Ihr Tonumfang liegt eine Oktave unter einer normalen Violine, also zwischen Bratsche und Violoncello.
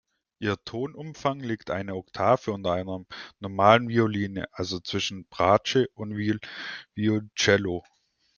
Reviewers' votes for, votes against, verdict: 0, 2, rejected